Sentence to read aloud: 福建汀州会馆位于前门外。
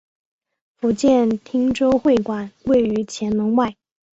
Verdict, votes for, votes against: accepted, 2, 1